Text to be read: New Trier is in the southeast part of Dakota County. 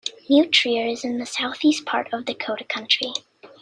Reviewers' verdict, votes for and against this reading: rejected, 0, 2